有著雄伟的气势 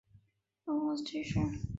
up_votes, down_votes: 0, 2